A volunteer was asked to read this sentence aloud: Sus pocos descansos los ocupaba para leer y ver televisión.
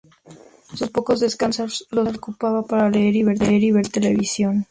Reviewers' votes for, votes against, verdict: 0, 2, rejected